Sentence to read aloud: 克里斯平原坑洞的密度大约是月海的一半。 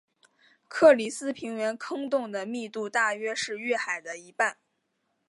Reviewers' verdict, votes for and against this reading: accepted, 2, 0